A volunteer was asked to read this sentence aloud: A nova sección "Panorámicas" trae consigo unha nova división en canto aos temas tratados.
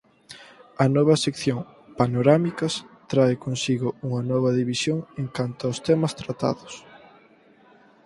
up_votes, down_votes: 2, 4